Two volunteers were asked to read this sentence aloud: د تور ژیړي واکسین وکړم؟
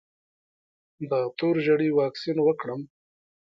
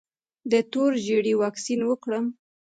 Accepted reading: second